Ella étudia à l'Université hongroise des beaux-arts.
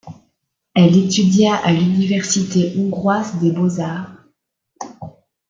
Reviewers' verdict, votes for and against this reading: rejected, 1, 2